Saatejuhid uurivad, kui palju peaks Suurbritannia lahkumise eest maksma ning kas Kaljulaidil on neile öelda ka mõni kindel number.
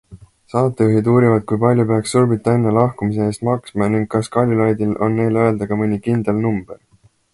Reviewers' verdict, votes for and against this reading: accepted, 2, 0